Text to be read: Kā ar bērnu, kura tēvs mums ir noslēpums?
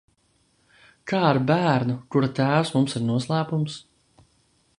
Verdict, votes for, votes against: accepted, 2, 0